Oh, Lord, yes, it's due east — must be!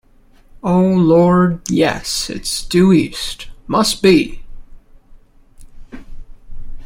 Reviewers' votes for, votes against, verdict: 2, 0, accepted